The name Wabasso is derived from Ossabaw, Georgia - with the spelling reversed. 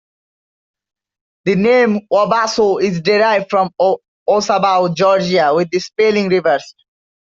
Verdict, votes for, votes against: rejected, 1, 2